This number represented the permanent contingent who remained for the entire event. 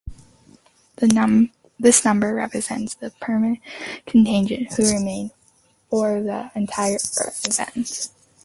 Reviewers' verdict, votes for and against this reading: rejected, 2, 2